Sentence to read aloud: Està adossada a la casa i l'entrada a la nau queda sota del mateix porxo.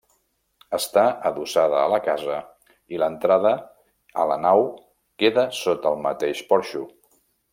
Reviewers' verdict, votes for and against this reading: rejected, 0, 2